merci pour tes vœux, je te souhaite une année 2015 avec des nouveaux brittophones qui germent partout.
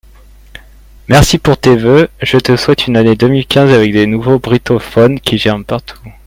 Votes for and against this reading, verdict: 0, 2, rejected